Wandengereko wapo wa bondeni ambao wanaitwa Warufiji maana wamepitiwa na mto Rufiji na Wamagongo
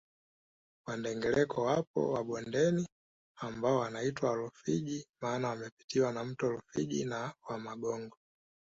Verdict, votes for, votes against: accepted, 2, 0